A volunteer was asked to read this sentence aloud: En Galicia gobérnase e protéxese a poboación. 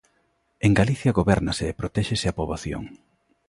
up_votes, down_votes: 2, 0